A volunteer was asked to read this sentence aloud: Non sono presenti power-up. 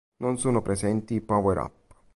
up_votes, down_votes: 2, 0